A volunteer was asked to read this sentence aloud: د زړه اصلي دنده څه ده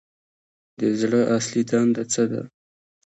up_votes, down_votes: 0, 2